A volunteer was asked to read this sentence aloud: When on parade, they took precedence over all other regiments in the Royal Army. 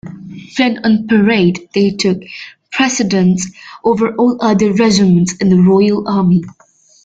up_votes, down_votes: 2, 1